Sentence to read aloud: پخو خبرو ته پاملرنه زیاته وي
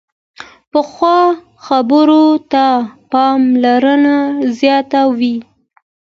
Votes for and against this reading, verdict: 2, 1, accepted